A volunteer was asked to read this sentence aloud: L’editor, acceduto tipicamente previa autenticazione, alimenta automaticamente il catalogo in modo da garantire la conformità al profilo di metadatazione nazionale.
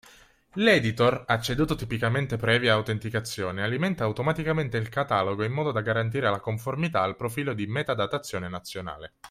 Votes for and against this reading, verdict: 3, 0, accepted